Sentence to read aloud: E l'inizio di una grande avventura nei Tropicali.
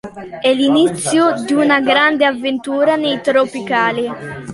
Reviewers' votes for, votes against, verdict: 2, 0, accepted